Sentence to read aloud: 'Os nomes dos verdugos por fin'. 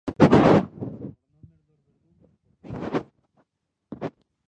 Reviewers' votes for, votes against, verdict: 0, 2, rejected